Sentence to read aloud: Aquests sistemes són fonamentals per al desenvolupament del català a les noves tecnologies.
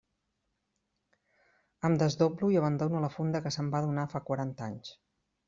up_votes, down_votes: 0, 2